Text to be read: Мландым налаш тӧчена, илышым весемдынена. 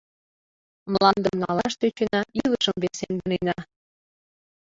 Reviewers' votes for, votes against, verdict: 1, 2, rejected